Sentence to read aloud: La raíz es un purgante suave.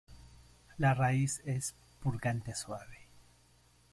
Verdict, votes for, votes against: rejected, 1, 2